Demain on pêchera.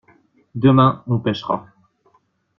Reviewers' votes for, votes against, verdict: 2, 0, accepted